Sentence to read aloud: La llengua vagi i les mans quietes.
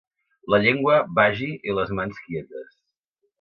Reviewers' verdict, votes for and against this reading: accepted, 2, 0